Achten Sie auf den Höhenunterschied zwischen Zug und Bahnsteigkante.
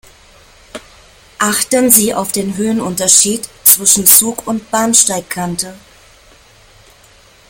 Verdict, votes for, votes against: rejected, 0, 2